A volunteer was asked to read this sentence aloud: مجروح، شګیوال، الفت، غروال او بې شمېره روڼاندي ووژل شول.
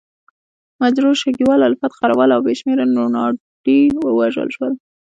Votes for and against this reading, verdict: 2, 0, accepted